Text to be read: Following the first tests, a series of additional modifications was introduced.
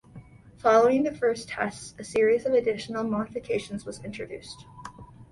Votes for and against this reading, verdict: 2, 0, accepted